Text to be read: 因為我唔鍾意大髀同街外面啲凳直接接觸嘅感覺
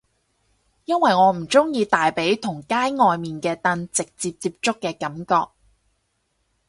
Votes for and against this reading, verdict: 0, 4, rejected